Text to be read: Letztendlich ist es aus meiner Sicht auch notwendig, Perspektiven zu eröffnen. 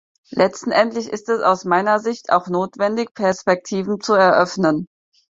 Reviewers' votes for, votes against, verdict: 0, 4, rejected